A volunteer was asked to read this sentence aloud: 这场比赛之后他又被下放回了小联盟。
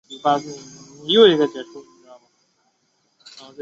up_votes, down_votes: 2, 1